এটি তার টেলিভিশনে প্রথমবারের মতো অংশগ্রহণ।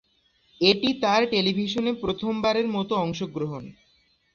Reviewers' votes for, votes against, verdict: 2, 0, accepted